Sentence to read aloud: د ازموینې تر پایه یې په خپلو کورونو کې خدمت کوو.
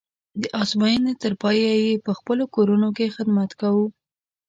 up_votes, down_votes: 2, 0